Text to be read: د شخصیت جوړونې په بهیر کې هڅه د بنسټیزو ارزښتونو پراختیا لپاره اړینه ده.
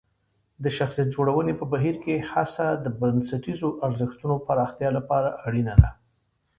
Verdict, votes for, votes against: accepted, 3, 0